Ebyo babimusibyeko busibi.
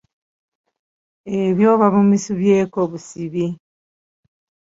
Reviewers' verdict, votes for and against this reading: rejected, 1, 2